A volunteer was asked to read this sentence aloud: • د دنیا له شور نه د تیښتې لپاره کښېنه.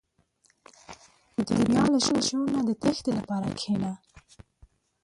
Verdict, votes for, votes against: accepted, 2, 1